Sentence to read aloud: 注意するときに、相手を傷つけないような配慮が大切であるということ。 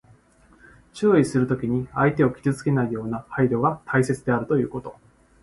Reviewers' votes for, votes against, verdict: 2, 0, accepted